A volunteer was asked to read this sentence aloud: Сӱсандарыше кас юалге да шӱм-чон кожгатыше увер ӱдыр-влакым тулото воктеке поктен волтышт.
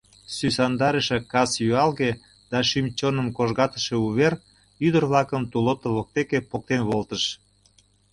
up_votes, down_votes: 0, 2